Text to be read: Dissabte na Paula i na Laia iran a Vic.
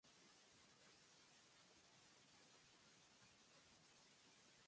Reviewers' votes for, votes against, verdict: 0, 2, rejected